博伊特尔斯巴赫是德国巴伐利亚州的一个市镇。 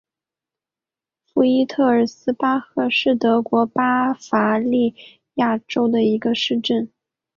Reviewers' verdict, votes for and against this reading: accepted, 2, 0